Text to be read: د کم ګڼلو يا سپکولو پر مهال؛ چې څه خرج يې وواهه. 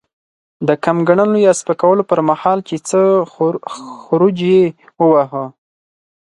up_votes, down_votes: 2, 4